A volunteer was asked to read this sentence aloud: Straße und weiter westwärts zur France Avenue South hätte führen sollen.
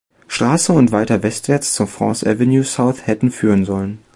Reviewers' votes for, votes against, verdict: 1, 2, rejected